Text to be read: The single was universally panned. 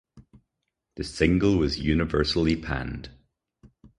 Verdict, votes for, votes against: accepted, 2, 0